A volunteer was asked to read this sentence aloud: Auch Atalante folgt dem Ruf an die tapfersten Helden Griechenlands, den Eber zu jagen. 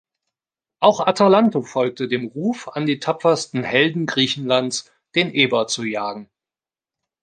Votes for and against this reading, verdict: 0, 2, rejected